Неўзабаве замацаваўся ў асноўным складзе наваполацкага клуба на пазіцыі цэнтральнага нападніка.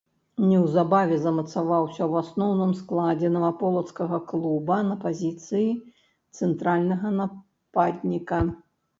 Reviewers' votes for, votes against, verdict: 0, 2, rejected